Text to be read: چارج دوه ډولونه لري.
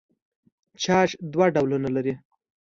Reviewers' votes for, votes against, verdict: 2, 0, accepted